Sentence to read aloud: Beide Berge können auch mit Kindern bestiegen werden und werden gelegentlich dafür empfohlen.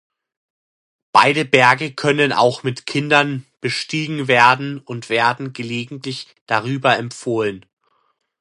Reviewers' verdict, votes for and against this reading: rejected, 0, 2